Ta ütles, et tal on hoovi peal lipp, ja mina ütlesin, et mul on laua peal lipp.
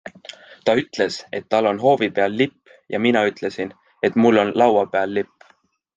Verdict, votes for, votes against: accepted, 2, 0